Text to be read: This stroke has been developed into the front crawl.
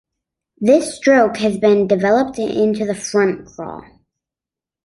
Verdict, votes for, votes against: accepted, 2, 0